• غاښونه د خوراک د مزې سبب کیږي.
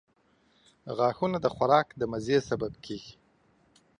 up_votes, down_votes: 3, 0